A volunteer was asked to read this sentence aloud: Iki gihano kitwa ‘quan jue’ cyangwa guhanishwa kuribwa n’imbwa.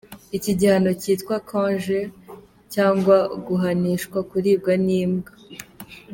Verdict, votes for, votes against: accepted, 2, 0